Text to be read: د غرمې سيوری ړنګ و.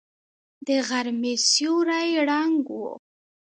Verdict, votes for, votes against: accepted, 2, 0